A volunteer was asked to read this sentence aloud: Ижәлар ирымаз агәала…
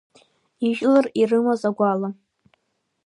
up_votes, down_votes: 1, 2